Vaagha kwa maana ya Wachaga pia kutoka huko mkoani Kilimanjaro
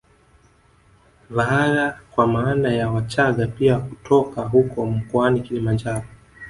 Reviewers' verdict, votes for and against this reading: rejected, 1, 2